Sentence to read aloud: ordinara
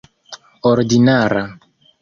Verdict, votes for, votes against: accepted, 2, 0